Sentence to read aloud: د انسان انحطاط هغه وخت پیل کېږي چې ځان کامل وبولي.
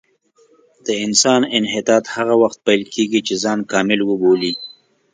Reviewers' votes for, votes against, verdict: 2, 0, accepted